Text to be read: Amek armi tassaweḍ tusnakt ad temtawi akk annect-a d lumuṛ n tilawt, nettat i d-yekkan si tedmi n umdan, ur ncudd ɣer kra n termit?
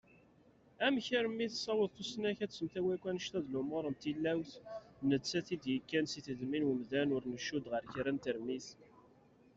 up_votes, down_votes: 1, 2